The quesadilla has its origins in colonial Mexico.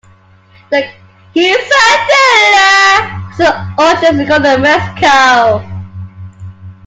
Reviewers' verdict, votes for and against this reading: rejected, 0, 2